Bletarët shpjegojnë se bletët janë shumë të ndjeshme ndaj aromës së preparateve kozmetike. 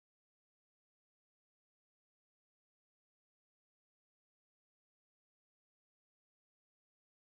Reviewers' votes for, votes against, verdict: 1, 2, rejected